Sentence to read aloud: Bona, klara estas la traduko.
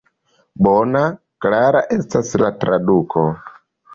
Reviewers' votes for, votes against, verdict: 2, 0, accepted